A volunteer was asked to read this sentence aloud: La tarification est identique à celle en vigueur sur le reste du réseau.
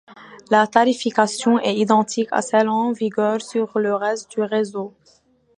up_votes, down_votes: 2, 0